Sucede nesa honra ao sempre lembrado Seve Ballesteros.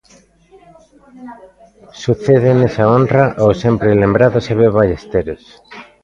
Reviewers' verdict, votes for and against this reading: accepted, 2, 1